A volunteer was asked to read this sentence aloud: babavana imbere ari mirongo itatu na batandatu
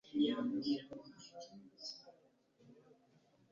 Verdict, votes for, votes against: rejected, 1, 2